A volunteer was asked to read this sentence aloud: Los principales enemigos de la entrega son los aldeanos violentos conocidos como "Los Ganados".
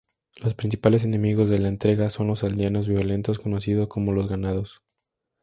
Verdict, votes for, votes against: accepted, 2, 0